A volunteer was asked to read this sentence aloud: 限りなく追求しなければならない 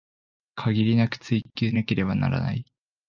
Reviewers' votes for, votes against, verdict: 1, 2, rejected